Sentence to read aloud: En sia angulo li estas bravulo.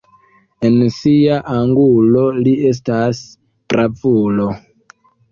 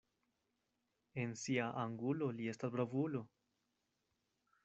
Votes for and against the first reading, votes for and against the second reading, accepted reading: 1, 2, 2, 0, second